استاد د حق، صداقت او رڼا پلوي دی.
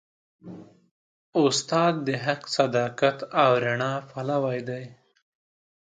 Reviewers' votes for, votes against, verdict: 2, 0, accepted